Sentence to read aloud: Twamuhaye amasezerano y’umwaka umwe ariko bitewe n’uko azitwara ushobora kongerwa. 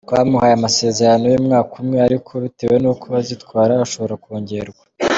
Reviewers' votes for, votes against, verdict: 2, 0, accepted